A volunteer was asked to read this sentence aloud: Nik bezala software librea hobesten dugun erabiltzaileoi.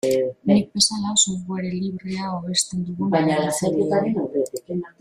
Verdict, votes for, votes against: rejected, 1, 2